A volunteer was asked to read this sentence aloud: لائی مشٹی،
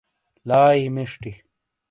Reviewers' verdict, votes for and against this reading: accepted, 2, 0